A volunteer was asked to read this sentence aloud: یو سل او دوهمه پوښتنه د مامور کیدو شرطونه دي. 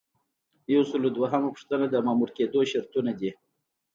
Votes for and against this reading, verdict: 2, 0, accepted